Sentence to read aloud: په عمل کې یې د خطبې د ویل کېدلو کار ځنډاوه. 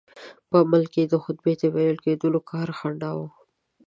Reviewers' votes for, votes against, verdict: 1, 2, rejected